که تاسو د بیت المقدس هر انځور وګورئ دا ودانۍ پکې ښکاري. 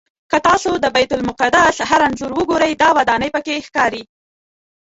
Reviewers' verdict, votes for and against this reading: rejected, 0, 2